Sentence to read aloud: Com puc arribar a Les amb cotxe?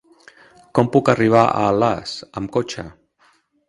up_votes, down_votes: 0, 2